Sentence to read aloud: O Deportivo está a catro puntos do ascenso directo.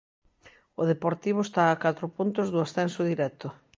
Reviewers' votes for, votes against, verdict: 2, 0, accepted